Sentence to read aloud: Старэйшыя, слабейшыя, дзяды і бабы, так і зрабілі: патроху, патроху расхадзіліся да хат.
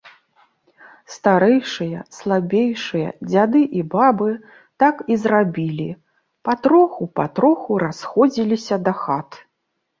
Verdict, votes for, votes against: rejected, 1, 2